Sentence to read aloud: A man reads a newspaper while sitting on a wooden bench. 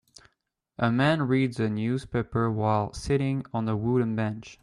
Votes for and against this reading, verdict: 2, 0, accepted